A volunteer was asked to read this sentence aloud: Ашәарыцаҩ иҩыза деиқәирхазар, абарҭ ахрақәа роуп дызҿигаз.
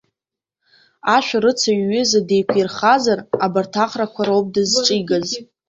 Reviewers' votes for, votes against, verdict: 0, 2, rejected